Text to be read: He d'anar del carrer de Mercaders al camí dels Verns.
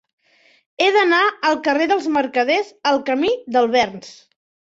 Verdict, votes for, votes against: rejected, 0, 4